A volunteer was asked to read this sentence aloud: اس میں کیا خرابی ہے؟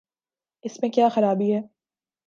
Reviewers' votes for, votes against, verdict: 7, 0, accepted